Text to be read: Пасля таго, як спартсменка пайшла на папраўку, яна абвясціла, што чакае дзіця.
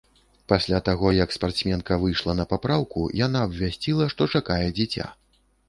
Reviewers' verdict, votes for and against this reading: rejected, 1, 2